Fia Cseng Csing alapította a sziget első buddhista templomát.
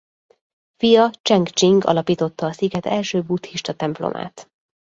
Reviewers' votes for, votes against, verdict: 2, 0, accepted